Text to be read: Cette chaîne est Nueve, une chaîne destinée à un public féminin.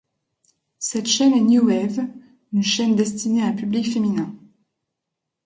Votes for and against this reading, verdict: 1, 2, rejected